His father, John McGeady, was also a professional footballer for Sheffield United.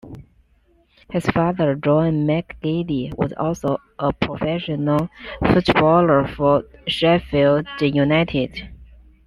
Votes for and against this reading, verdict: 2, 0, accepted